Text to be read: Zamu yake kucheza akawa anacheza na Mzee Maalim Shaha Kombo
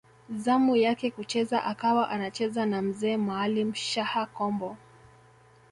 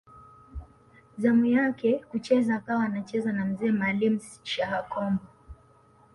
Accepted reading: second